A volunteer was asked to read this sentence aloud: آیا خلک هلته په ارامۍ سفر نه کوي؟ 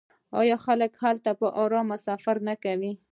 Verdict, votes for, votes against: rejected, 1, 2